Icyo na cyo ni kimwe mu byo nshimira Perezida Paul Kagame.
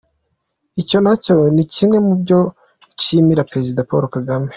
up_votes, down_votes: 2, 1